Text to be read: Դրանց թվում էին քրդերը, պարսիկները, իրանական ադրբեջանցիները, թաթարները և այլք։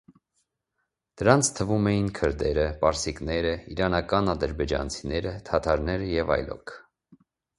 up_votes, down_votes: 1, 2